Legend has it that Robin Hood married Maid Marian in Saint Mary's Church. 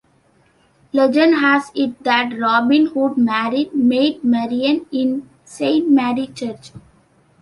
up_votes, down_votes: 2, 1